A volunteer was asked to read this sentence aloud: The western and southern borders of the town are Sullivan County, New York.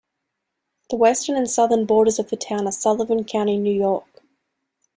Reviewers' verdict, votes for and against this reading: accepted, 2, 0